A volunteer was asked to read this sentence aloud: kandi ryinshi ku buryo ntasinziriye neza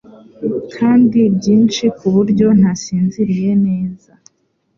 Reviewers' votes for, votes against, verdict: 2, 0, accepted